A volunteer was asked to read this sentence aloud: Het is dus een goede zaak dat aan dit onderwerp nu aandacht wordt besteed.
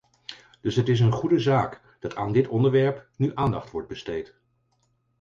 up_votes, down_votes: 2, 4